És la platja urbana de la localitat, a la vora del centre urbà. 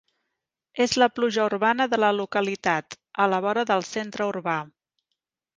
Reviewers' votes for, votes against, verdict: 0, 2, rejected